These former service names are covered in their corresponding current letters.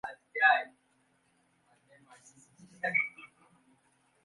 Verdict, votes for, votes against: rejected, 0, 2